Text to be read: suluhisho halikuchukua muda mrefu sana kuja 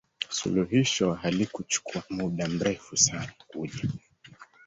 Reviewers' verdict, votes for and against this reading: accepted, 2, 1